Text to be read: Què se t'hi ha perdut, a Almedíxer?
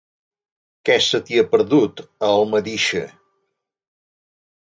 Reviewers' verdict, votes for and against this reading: accepted, 2, 0